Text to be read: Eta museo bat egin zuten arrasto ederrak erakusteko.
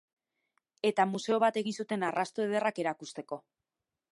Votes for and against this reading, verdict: 1, 2, rejected